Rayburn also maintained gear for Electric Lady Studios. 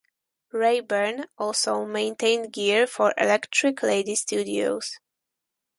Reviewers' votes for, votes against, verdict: 4, 0, accepted